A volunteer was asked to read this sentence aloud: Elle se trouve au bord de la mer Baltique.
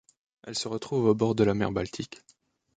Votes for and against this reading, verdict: 0, 2, rejected